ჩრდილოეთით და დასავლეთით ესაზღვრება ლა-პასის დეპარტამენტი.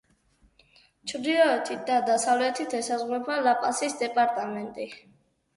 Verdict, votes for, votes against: rejected, 2, 2